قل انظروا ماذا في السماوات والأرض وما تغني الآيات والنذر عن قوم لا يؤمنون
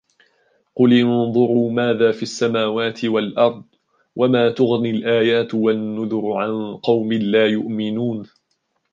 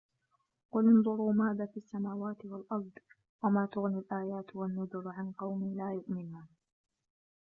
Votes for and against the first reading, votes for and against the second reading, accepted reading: 2, 0, 0, 2, first